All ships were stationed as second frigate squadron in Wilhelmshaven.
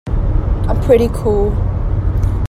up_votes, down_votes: 0, 2